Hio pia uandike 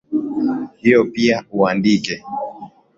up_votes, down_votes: 2, 0